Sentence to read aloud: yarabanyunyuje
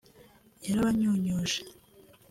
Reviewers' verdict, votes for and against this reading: accepted, 2, 0